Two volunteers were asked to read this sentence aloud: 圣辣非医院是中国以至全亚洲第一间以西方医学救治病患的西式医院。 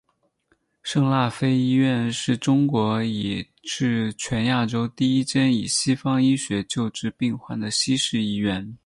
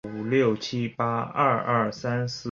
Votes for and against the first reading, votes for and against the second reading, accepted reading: 4, 0, 0, 2, first